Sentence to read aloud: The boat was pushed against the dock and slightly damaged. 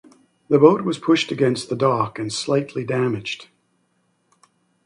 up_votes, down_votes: 2, 0